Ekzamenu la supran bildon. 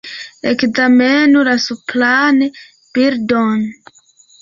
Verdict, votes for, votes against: accepted, 2, 1